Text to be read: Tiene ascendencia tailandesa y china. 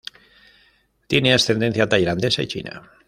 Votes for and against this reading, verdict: 2, 0, accepted